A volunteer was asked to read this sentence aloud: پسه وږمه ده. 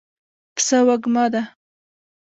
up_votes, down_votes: 1, 2